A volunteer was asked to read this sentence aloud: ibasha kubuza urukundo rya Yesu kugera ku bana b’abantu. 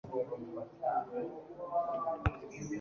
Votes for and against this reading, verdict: 1, 2, rejected